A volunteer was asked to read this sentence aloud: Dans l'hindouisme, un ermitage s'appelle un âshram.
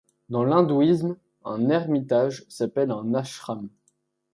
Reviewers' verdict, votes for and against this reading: accepted, 2, 0